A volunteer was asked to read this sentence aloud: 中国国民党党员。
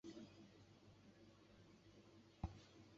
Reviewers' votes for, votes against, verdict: 0, 2, rejected